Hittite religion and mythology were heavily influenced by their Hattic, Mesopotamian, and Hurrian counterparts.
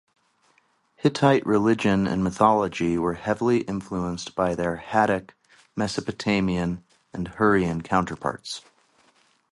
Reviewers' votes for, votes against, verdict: 0, 2, rejected